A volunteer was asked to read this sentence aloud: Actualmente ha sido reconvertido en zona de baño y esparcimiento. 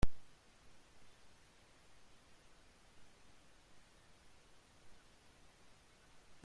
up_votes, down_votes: 1, 2